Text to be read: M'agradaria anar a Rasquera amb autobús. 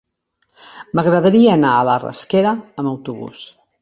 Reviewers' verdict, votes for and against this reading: rejected, 1, 3